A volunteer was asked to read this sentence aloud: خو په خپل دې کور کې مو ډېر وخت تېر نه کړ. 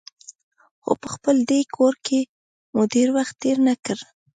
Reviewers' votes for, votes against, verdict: 2, 0, accepted